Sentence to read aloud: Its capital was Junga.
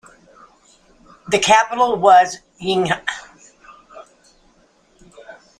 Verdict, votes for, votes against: rejected, 0, 2